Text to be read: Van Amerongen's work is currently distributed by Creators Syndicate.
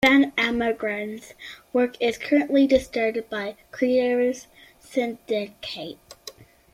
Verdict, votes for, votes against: accepted, 2, 0